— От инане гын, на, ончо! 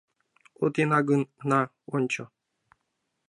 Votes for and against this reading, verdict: 0, 2, rejected